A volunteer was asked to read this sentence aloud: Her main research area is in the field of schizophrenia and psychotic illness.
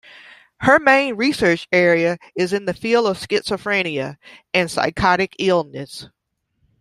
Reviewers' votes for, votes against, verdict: 2, 1, accepted